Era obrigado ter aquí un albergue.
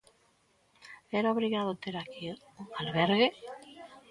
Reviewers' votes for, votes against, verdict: 1, 2, rejected